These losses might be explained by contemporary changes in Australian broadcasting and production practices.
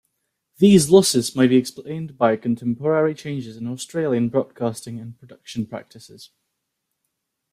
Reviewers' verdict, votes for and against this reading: rejected, 1, 2